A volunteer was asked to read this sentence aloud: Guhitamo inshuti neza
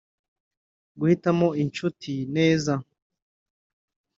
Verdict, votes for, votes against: accepted, 2, 0